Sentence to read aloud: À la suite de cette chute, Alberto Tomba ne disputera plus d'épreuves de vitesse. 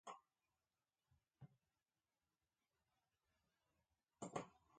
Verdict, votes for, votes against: rejected, 1, 2